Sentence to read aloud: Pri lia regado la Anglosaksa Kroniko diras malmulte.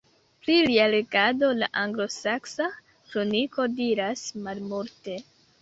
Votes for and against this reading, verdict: 2, 0, accepted